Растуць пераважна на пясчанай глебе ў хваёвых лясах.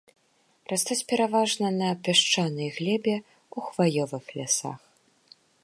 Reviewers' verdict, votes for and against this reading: accepted, 2, 1